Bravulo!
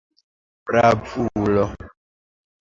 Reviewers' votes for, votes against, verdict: 2, 1, accepted